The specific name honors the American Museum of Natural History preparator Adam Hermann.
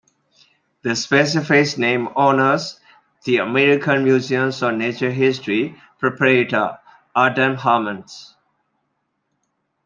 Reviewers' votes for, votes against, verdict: 2, 1, accepted